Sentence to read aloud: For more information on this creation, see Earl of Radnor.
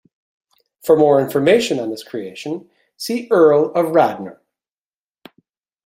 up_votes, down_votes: 2, 0